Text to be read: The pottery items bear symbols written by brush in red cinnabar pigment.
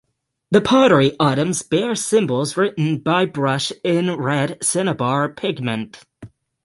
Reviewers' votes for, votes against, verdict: 6, 0, accepted